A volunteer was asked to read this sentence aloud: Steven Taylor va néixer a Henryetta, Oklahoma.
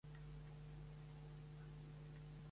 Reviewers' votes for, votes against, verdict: 0, 2, rejected